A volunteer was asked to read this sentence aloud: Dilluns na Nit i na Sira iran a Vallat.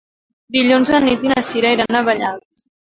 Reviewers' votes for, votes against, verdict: 2, 0, accepted